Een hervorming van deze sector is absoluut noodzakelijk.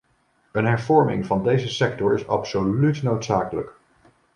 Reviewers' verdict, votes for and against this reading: accepted, 2, 0